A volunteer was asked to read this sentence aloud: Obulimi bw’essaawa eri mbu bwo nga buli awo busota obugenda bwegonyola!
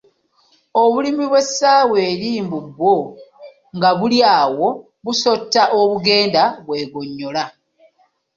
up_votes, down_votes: 0, 2